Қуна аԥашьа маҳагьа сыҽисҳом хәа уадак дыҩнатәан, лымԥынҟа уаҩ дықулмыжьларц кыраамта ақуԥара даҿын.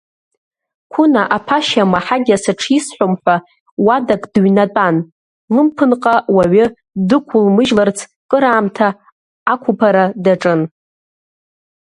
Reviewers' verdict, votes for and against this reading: rejected, 0, 2